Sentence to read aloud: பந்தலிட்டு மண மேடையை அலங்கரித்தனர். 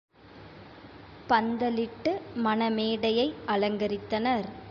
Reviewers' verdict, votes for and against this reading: accepted, 2, 0